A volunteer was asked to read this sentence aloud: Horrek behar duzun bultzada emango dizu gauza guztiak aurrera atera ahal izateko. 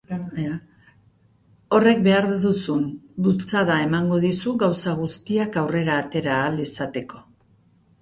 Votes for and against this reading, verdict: 2, 0, accepted